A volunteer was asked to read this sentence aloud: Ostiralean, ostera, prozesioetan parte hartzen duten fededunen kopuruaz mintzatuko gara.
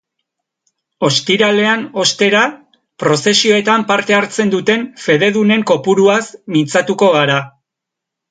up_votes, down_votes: 3, 0